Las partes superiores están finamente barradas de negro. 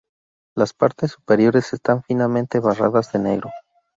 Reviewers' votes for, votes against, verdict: 0, 2, rejected